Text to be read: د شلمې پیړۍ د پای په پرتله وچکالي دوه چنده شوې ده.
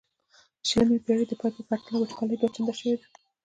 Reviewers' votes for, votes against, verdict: 2, 1, accepted